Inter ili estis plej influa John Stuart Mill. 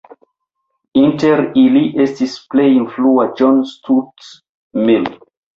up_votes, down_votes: 1, 2